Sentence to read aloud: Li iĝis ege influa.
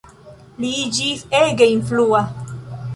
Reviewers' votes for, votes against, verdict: 2, 0, accepted